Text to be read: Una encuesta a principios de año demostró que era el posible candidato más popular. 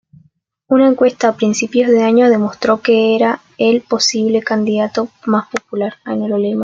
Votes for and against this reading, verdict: 1, 2, rejected